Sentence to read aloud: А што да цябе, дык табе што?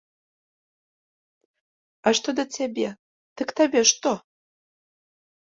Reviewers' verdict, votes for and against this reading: accepted, 2, 0